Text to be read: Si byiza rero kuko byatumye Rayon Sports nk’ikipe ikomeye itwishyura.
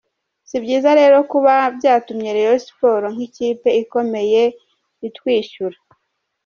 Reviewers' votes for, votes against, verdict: 1, 2, rejected